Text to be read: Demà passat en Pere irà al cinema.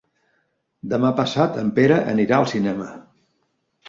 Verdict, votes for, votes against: rejected, 1, 2